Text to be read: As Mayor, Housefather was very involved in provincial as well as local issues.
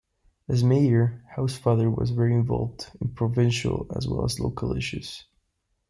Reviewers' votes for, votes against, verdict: 2, 0, accepted